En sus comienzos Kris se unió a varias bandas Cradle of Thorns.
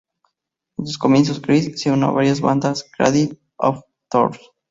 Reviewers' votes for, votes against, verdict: 2, 2, rejected